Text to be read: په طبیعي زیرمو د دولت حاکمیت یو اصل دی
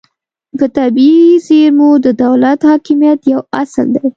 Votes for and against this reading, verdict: 2, 0, accepted